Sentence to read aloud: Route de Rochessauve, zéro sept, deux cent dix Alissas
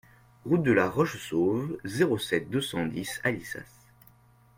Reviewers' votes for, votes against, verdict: 0, 2, rejected